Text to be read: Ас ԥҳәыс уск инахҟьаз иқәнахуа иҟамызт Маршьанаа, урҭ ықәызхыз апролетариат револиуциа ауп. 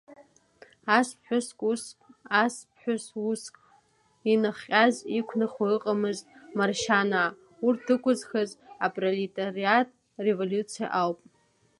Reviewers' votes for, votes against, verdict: 1, 2, rejected